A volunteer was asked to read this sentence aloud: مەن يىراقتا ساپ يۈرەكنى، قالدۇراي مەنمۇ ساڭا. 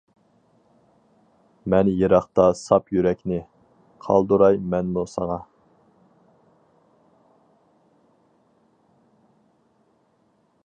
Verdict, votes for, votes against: accepted, 4, 0